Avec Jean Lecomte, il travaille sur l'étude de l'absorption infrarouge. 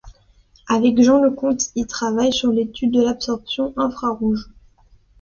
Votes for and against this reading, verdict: 2, 0, accepted